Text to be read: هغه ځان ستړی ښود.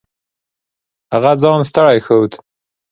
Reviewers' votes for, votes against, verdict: 2, 0, accepted